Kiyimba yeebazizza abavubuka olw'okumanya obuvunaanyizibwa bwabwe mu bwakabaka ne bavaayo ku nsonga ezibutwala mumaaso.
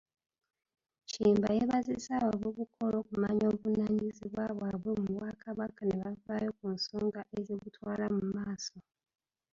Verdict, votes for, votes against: rejected, 0, 2